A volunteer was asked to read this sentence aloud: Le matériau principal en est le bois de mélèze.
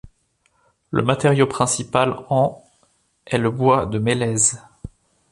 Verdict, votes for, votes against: rejected, 0, 2